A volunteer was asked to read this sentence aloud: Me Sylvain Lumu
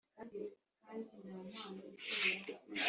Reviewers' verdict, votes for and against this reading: rejected, 1, 2